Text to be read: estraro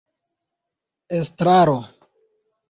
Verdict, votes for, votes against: accepted, 2, 0